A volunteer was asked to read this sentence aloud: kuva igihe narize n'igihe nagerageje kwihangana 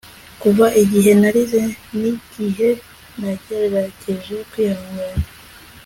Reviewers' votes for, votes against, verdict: 4, 0, accepted